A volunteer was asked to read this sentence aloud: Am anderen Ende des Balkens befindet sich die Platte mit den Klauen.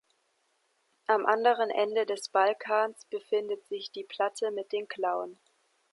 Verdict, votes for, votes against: rejected, 1, 2